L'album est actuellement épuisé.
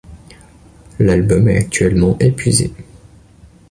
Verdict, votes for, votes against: accepted, 2, 0